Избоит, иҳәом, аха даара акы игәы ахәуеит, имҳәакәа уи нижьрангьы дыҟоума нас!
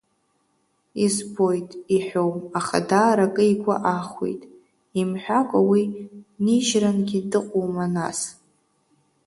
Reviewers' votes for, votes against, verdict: 2, 0, accepted